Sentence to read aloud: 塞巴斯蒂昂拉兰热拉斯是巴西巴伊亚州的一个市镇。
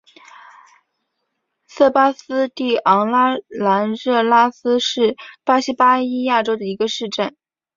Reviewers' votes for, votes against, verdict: 2, 0, accepted